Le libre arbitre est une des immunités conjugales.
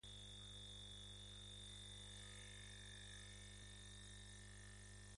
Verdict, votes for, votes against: rejected, 0, 2